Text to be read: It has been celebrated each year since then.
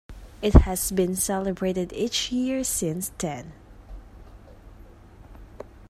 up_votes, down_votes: 2, 0